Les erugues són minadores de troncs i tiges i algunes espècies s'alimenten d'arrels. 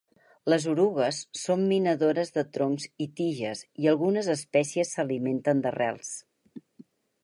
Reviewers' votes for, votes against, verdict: 2, 4, rejected